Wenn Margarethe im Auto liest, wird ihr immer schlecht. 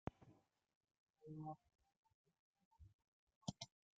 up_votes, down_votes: 0, 2